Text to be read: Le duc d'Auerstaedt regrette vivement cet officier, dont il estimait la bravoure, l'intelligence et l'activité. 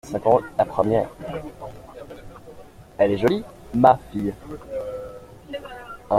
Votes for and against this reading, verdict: 0, 2, rejected